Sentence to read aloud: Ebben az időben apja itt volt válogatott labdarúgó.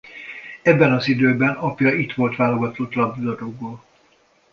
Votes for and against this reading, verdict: 1, 2, rejected